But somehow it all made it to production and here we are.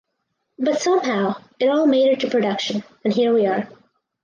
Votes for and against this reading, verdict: 4, 0, accepted